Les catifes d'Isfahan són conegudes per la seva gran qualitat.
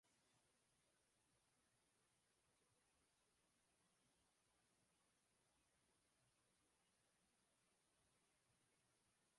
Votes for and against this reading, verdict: 0, 3, rejected